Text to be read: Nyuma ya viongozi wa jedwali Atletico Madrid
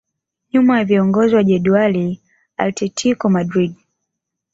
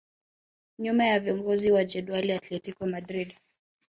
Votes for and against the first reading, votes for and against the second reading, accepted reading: 2, 0, 1, 2, first